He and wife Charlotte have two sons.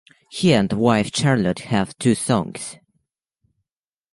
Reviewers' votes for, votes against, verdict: 2, 0, accepted